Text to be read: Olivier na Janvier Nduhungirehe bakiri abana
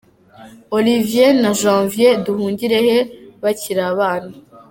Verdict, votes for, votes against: accepted, 2, 0